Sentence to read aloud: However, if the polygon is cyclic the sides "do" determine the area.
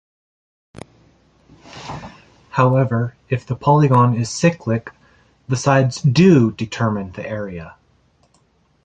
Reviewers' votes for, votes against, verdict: 1, 2, rejected